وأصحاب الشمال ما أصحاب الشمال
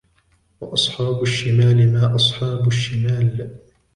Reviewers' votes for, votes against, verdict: 1, 2, rejected